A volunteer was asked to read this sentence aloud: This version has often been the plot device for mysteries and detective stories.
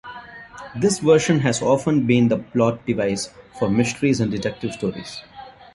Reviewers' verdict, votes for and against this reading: accepted, 2, 1